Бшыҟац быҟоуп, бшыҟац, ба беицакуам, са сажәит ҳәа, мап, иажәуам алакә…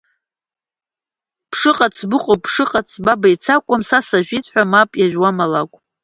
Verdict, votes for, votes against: accepted, 2, 0